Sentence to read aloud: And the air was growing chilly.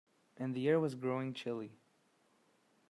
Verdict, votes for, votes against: accepted, 2, 0